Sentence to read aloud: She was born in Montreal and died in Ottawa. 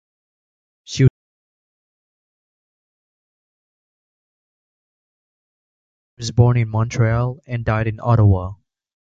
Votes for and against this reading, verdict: 1, 2, rejected